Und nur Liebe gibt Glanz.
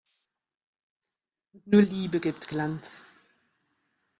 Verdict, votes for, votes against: rejected, 0, 2